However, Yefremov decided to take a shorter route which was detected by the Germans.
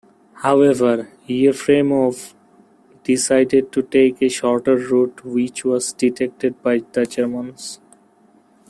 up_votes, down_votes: 2, 1